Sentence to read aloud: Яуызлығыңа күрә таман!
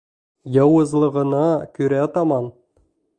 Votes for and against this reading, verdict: 0, 2, rejected